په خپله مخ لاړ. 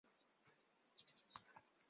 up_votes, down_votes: 0, 2